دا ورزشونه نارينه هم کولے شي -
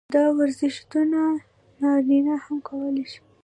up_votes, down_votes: 0, 2